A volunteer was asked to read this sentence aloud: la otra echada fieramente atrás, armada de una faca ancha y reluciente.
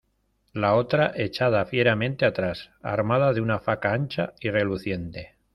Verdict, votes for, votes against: accepted, 2, 0